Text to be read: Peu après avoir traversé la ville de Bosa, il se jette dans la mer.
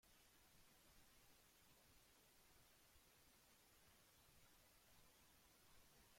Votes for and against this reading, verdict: 1, 2, rejected